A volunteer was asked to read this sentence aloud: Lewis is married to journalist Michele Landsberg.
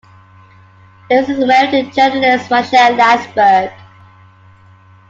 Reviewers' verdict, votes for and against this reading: rejected, 0, 2